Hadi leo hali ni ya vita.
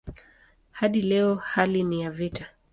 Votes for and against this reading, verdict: 2, 0, accepted